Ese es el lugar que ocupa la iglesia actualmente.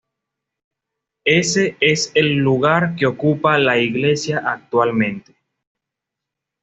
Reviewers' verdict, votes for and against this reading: accepted, 2, 0